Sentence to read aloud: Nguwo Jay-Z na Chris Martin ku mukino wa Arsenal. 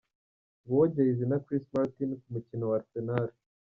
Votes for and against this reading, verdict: 2, 1, accepted